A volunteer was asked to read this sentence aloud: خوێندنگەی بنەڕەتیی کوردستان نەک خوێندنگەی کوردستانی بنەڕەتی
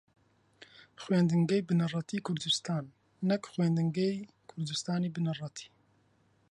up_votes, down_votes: 2, 0